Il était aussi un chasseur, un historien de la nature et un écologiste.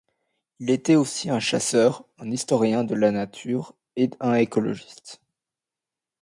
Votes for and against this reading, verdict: 0, 2, rejected